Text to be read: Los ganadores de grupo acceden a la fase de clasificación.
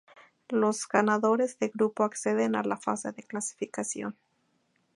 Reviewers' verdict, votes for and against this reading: accepted, 2, 0